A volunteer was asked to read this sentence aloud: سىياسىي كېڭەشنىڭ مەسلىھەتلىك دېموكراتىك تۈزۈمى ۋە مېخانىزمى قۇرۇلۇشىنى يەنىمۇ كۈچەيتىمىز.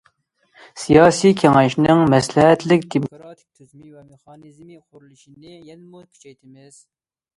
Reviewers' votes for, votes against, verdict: 0, 2, rejected